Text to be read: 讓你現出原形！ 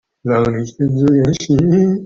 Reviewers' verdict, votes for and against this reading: rejected, 0, 2